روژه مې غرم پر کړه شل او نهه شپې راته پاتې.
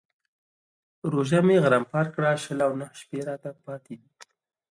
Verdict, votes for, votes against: accepted, 2, 0